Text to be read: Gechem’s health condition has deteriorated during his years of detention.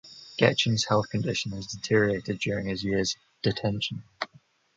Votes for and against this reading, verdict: 2, 0, accepted